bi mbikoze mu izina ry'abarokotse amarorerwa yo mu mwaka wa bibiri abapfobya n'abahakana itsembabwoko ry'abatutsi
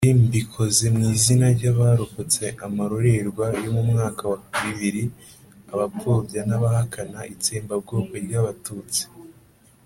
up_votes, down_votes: 2, 0